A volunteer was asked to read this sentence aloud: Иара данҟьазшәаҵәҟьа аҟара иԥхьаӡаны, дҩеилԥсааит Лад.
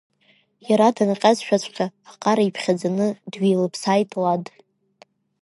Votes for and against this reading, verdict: 1, 2, rejected